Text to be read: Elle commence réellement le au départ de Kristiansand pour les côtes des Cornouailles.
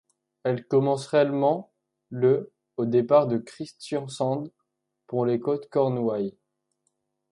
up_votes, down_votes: 1, 2